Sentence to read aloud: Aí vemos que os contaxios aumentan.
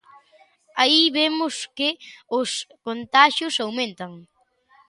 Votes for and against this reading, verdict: 2, 0, accepted